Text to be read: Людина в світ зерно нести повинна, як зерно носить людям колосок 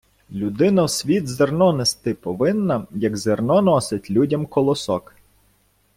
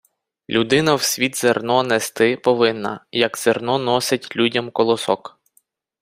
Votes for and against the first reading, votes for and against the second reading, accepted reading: 1, 2, 4, 0, second